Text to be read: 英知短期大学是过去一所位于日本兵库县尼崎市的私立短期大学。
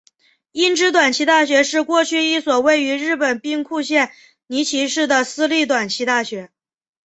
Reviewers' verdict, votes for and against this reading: accepted, 2, 1